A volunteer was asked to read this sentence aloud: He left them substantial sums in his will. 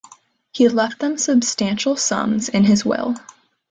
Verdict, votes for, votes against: accepted, 2, 0